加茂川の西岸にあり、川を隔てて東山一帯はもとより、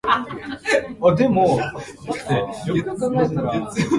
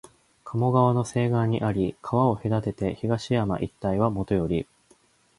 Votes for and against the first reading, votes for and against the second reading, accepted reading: 0, 7, 2, 0, second